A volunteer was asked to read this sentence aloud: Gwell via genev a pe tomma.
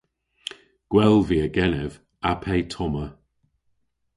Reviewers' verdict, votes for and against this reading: accepted, 2, 0